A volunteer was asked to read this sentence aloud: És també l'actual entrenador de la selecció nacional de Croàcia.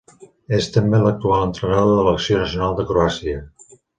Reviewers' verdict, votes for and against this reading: rejected, 0, 3